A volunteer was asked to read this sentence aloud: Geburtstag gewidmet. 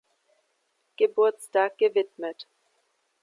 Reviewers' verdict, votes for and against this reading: accepted, 2, 0